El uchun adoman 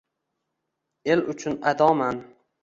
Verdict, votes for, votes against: accepted, 2, 0